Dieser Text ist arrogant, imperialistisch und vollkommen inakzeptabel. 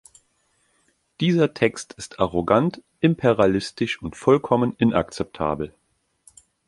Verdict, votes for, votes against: accepted, 2, 0